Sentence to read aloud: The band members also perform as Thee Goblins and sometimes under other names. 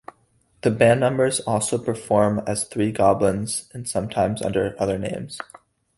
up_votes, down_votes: 4, 0